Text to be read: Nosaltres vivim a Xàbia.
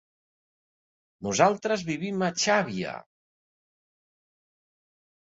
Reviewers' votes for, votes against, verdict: 2, 0, accepted